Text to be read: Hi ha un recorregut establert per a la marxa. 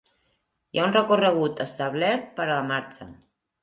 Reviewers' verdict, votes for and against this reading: accepted, 4, 0